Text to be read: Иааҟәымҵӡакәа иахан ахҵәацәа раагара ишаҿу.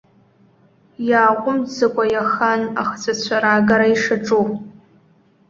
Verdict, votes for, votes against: accepted, 2, 0